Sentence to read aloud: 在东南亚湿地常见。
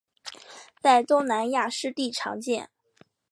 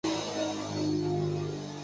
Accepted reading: first